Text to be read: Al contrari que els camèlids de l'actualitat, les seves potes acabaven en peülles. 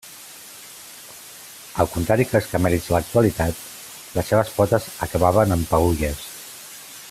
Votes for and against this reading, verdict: 2, 1, accepted